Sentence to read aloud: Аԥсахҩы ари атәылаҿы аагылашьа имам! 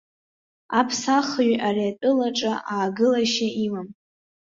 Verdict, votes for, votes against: accepted, 2, 0